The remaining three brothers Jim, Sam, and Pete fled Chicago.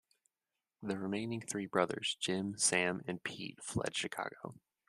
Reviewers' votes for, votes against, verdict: 2, 0, accepted